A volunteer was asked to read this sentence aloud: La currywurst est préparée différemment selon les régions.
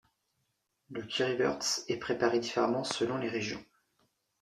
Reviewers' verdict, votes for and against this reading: rejected, 0, 2